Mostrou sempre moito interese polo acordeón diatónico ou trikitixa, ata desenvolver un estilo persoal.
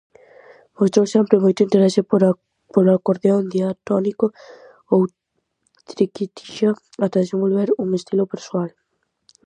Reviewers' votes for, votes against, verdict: 0, 2, rejected